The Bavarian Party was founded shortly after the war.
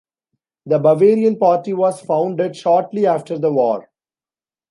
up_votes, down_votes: 2, 0